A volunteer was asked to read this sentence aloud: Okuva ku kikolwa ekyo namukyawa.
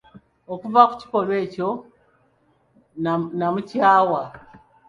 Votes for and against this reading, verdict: 1, 2, rejected